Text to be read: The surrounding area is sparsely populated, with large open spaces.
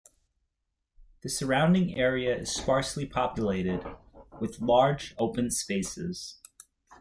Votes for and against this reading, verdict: 2, 0, accepted